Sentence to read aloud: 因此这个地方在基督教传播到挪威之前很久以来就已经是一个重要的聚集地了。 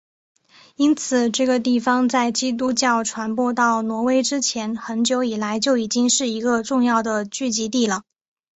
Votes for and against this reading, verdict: 2, 0, accepted